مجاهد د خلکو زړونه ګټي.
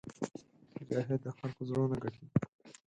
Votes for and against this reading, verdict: 0, 4, rejected